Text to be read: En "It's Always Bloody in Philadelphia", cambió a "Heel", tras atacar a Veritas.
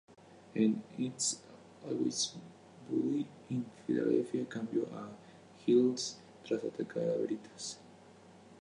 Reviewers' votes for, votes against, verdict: 0, 2, rejected